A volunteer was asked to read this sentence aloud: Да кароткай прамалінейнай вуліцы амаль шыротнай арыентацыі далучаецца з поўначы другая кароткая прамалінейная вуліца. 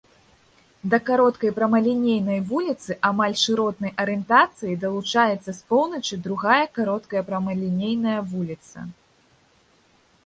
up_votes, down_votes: 2, 0